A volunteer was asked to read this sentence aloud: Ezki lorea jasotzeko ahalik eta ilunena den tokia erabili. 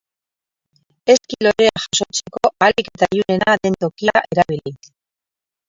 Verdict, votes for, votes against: rejected, 0, 2